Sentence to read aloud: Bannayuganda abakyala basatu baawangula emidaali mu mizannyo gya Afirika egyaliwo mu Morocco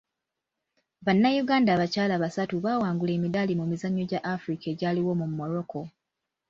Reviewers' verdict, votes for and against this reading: accepted, 2, 1